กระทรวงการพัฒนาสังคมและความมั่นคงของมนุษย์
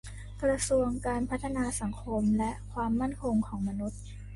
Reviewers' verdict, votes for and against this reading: accepted, 2, 0